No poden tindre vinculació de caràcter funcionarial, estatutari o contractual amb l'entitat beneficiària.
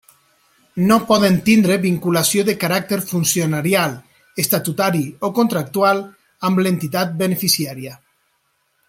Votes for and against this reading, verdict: 3, 0, accepted